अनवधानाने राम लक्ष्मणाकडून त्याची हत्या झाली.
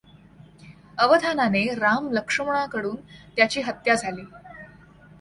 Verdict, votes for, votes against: accepted, 2, 1